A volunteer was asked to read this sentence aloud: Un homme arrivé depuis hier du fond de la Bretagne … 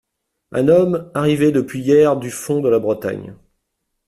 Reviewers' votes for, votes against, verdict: 2, 0, accepted